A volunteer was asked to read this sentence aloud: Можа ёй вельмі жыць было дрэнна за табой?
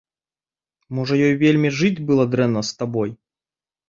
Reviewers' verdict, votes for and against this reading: rejected, 0, 2